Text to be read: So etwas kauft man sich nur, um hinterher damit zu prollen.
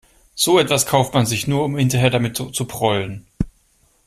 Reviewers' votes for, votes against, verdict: 0, 2, rejected